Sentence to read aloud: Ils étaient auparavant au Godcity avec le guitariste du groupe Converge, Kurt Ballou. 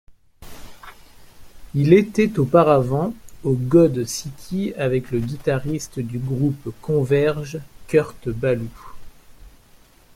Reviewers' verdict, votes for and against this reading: rejected, 0, 2